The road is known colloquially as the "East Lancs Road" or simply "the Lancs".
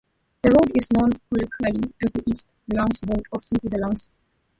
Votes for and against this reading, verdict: 2, 1, accepted